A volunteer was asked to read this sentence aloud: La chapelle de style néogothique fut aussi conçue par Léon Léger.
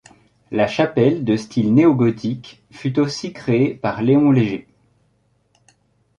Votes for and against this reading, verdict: 1, 2, rejected